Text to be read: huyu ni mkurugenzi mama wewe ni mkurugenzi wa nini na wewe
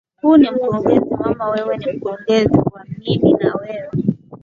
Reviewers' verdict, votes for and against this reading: accepted, 5, 4